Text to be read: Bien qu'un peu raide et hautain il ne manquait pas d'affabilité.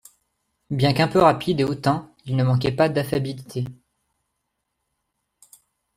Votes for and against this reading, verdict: 0, 2, rejected